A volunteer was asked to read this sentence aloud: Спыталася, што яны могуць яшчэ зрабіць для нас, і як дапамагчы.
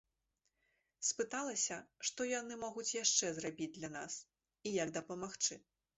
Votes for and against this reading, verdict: 2, 0, accepted